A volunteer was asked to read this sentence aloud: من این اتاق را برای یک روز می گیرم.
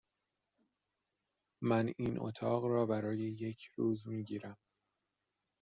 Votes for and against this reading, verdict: 2, 0, accepted